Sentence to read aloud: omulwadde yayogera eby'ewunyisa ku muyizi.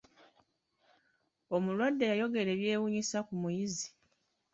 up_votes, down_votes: 0, 2